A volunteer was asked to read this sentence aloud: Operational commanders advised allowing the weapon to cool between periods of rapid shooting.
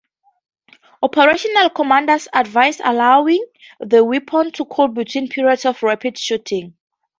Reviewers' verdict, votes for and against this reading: accepted, 2, 0